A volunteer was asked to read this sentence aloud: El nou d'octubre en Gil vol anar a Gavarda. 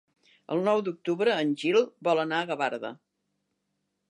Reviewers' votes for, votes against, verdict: 3, 0, accepted